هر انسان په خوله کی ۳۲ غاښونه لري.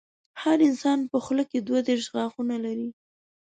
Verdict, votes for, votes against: rejected, 0, 2